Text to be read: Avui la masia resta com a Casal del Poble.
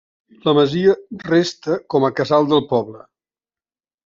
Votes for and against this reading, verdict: 0, 2, rejected